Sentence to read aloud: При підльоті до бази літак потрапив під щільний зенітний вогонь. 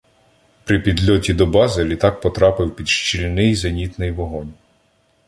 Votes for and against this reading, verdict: 2, 0, accepted